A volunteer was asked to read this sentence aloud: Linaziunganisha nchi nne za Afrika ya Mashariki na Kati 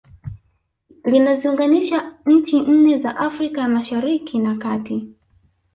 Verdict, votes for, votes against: accepted, 2, 0